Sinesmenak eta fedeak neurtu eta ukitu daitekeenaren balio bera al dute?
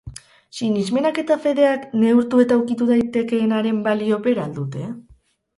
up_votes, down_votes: 2, 2